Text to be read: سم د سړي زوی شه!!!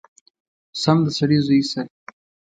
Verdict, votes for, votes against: accepted, 2, 0